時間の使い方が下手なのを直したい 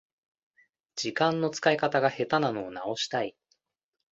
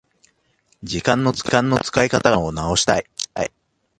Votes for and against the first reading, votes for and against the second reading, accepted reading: 2, 0, 1, 2, first